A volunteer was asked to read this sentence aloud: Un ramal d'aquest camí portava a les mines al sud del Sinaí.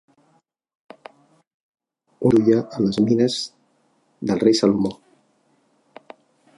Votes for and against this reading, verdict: 0, 2, rejected